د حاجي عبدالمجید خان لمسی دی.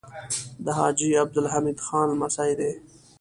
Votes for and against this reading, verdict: 1, 2, rejected